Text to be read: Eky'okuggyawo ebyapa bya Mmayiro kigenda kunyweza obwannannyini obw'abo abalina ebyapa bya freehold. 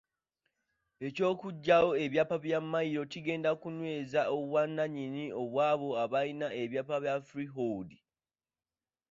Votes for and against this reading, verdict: 2, 1, accepted